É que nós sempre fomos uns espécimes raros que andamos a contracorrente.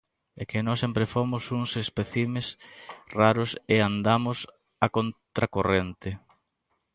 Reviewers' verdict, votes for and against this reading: rejected, 0, 2